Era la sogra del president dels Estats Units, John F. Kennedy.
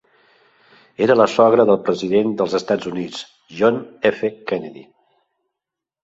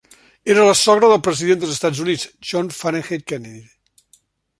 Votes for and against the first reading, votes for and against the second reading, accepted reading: 3, 0, 0, 2, first